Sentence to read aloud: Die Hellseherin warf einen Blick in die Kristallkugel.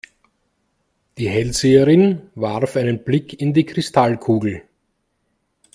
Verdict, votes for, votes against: accepted, 2, 1